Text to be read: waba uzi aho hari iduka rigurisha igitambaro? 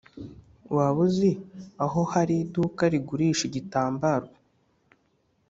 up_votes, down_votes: 2, 0